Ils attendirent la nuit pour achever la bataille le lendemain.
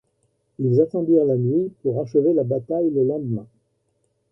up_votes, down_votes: 2, 0